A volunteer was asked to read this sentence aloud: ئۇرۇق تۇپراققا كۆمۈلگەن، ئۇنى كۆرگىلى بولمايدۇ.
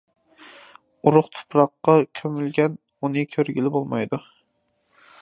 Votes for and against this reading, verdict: 3, 0, accepted